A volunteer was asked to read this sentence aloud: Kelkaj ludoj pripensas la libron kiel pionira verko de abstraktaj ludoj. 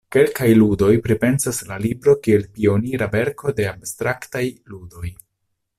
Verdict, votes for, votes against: accepted, 2, 1